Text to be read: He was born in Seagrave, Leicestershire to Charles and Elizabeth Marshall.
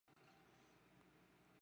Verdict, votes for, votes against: rejected, 0, 2